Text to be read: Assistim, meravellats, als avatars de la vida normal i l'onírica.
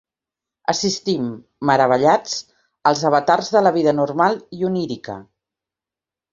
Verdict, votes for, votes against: rejected, 0, 2